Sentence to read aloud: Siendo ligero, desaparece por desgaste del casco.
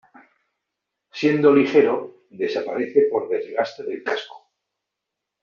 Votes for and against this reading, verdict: 2, 1, accepted